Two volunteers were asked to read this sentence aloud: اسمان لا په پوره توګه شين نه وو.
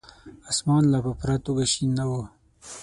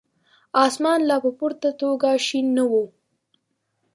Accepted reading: first